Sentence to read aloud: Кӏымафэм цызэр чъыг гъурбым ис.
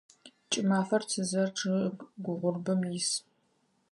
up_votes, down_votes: 0, 4